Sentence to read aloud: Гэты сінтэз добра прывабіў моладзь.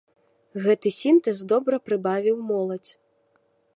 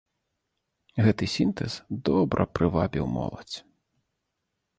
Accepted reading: second